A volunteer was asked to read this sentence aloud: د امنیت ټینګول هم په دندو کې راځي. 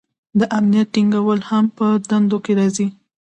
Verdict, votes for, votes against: accepted, 2, 0